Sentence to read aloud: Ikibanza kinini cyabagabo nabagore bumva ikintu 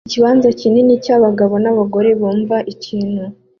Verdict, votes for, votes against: accepted, 2, 0